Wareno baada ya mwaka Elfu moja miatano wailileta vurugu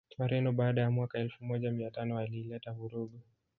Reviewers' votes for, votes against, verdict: 2, 1, accepted